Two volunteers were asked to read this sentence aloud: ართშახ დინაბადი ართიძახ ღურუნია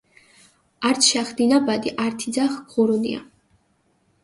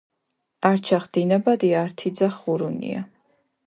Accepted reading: first